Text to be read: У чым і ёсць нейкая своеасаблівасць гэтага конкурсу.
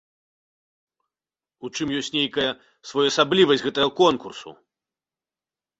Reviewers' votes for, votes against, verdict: 2, 1, accepted